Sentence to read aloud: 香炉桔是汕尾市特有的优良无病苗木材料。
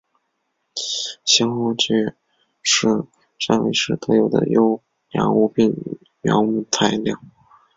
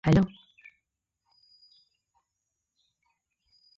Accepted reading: first